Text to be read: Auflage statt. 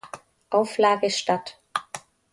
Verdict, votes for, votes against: accepted, 2, 0